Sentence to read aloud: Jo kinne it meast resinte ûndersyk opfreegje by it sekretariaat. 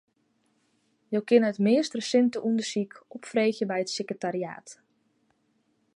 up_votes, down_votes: 2, 0